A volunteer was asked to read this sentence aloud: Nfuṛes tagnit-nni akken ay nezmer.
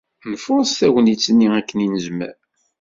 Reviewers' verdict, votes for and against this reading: accepted, 2, 0